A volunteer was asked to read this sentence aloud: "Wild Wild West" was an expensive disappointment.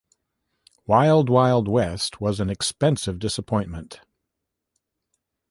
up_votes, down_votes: 2, 0